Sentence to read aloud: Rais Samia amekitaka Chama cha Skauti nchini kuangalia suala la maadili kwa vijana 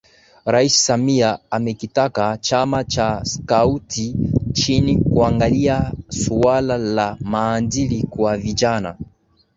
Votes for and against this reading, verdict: 2, 0, accepted